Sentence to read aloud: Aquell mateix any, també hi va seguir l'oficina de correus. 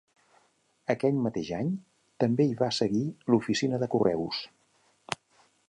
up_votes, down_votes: 2, 0